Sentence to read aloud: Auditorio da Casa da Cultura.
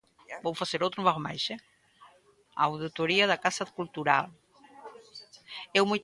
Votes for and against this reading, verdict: 0, 2, rejected